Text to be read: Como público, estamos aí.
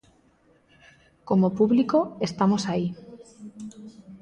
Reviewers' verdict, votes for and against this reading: accepted, 2, 0